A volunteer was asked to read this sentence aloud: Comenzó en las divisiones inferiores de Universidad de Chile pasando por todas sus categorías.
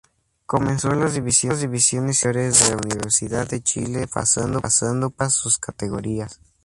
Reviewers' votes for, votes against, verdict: 0, 2, rejected